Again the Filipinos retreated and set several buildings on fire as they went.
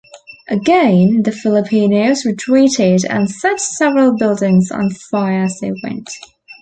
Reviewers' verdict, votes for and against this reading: accepted, 2, 0